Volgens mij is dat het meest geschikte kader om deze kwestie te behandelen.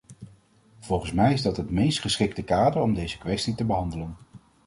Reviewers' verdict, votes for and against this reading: accepted, 2, 0